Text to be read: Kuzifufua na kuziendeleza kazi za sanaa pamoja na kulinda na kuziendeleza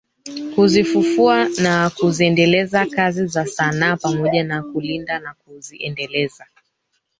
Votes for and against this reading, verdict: 2, 3, rejected